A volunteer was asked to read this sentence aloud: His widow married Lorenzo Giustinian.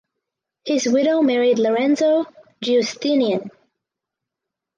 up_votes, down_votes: 2, 0